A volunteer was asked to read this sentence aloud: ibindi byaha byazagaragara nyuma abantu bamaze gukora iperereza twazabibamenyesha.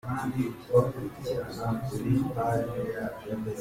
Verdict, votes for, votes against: rejected, 0, 2